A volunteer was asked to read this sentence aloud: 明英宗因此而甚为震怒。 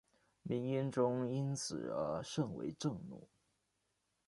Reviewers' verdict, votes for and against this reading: accepted, 2, 1